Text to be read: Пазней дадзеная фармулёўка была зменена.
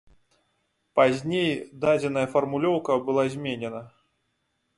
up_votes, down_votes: 3, 0